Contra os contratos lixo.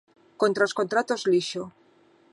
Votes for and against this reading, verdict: 2, 0, accepted